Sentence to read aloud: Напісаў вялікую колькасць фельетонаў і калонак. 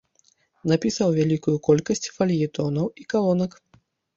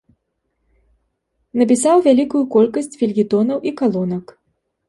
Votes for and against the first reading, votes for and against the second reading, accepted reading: 1, 2, 2, 0, second